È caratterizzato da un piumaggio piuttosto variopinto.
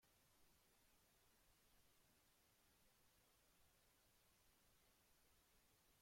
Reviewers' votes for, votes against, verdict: 0, 3, rejected